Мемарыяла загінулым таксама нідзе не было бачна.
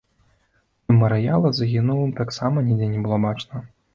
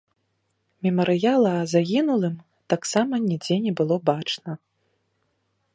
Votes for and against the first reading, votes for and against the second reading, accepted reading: 1, 3, 2, 0, second